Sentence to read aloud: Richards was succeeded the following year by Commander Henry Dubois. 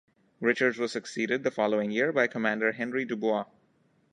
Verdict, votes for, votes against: accepted, 2, 0